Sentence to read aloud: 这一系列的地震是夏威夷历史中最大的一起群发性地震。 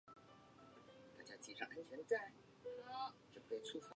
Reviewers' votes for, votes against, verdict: 1, 3, rejected